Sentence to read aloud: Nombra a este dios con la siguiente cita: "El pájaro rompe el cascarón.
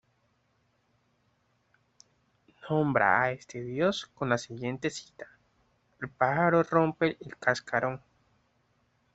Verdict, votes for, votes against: rejected, 0, 2